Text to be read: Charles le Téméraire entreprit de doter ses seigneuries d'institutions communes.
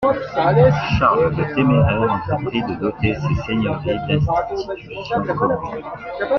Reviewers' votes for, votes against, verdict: 2, 1, accepted